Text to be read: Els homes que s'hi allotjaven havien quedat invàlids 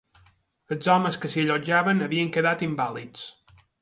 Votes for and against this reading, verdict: 2, 0, accepted